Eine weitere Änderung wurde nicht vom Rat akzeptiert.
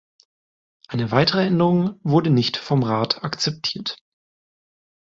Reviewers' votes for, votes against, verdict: 2, 0, accepted